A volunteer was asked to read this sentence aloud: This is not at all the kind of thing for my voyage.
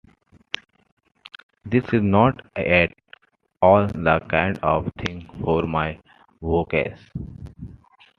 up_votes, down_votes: 1, 2